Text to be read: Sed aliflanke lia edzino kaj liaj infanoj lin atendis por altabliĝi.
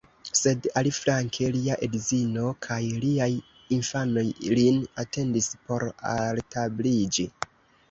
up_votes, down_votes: 0, 2